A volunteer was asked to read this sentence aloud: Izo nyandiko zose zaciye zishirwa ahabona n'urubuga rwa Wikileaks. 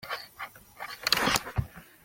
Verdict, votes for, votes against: rejected, 0, 2